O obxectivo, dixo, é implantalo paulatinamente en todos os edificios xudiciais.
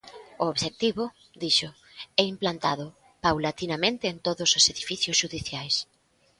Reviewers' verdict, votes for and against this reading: rejected, 0, 2